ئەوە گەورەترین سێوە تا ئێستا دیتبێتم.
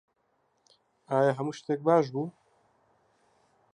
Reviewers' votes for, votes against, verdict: 0, 2, rejected